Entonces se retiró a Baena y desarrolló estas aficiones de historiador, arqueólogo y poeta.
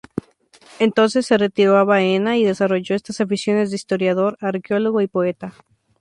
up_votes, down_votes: 2, 2